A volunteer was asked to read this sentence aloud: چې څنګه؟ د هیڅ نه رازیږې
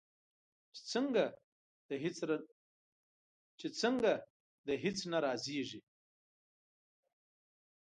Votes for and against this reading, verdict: 0, 2, rejected